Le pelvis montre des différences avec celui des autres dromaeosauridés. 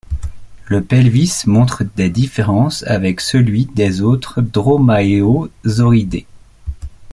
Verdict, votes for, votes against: accepted, 2, 1